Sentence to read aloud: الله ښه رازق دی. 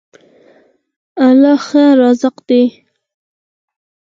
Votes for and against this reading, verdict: 4, 0, accepted